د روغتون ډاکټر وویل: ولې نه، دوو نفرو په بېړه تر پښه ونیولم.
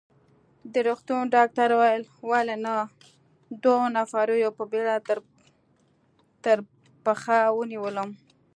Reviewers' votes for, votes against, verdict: 0, 2, rejected